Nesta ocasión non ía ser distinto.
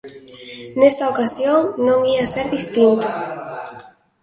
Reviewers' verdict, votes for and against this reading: rejected, 1, 2